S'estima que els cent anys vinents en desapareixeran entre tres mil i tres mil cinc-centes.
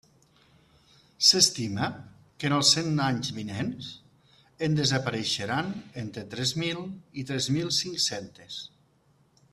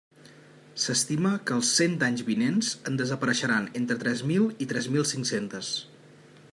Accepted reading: second